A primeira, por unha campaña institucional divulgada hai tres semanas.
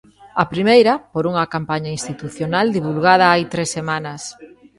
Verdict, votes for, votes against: accepted, 2, 0